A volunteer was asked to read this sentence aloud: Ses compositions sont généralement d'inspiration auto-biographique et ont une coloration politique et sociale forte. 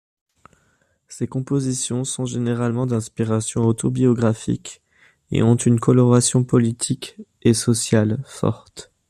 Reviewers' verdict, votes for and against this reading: accepted, 2, 0